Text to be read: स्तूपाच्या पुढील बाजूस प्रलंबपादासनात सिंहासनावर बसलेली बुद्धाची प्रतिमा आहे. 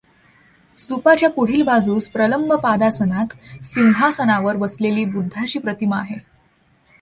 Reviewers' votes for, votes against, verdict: 2, 0, accepted